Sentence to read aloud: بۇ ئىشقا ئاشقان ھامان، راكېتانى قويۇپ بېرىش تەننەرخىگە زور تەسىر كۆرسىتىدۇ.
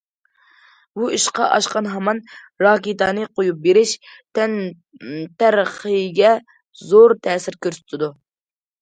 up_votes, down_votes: 2, 1